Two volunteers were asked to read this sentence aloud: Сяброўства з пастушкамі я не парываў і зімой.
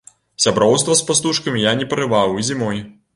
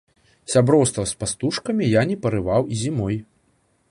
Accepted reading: second